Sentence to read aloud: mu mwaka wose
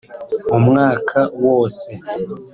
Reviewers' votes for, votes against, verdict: 2, 0, accepted